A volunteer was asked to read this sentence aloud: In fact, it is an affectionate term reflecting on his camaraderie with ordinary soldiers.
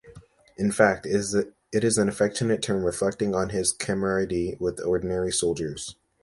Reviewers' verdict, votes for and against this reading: rejected, 1, 2